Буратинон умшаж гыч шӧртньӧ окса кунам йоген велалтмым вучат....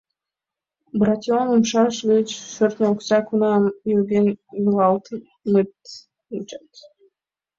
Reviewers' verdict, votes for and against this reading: rejected, 0, 2